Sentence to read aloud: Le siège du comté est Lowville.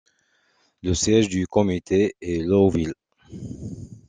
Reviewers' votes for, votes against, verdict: 0, 2, rejected